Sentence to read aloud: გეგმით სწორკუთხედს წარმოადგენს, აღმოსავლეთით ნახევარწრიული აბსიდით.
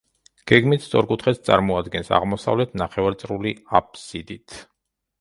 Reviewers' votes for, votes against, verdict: 0, 2, rejected